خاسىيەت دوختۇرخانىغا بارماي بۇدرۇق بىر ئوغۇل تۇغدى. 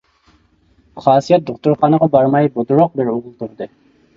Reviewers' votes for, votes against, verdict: 0, 2, rejected